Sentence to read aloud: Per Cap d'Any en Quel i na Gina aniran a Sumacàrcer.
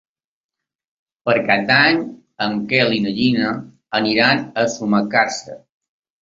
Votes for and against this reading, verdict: 2, 0, accepted